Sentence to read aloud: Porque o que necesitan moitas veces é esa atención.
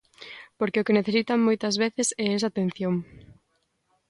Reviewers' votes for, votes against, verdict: 2, 0, accepted